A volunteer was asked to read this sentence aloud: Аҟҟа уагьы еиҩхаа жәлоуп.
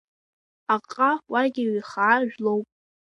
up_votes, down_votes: 2, 0